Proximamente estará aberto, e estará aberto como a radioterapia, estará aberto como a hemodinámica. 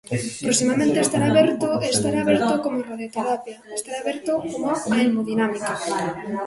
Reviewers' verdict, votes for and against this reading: rejected, 0, 2